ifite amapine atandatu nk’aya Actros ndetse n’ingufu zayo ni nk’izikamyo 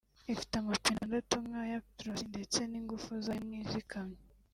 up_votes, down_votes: 1, 2